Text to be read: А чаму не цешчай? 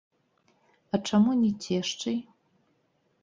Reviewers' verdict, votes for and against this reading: rejected, 1, 2